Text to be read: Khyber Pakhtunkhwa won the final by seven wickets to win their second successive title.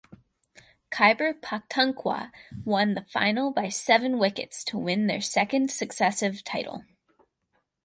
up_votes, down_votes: 4, 2